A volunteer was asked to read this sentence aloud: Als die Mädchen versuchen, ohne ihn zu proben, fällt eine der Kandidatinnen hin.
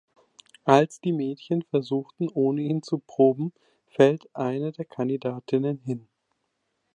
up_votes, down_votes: 2, 1